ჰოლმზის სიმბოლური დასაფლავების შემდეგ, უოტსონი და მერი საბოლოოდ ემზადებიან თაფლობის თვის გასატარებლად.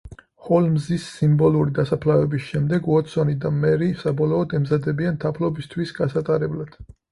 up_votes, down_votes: 4, 0